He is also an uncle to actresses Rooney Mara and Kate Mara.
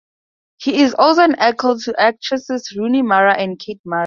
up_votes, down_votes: 0, 2